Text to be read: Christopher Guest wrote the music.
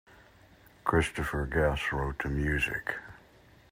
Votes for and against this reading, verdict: 2, 0, accepted